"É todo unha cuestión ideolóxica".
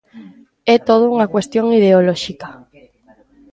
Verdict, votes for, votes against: rejected, 0, 2